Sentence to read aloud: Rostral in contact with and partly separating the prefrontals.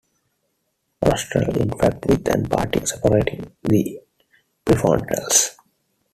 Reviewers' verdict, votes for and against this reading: rejected, 0, 2